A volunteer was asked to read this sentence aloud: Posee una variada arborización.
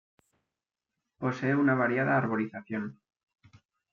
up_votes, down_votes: 2, 0